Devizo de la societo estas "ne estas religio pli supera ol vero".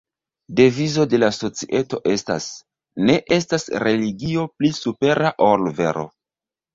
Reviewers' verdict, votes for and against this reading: accepted, 2, 0